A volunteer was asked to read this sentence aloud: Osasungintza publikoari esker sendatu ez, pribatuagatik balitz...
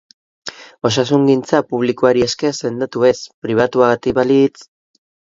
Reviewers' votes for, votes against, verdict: 2, 0, accepted